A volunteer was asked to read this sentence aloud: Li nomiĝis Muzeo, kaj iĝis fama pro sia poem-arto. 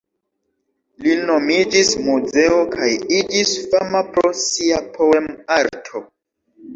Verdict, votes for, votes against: accepted, 3, 1